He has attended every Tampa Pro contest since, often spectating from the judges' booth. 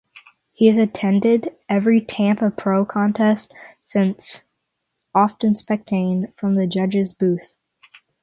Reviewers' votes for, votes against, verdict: 6, 0, accepted